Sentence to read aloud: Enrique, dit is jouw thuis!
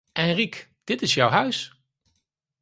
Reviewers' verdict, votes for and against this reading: rejected, 0, 4